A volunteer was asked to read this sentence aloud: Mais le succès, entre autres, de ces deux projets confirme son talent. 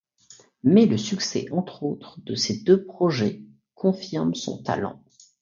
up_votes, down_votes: 2, 0